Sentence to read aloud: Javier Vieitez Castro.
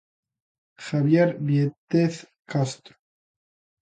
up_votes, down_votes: 2, 0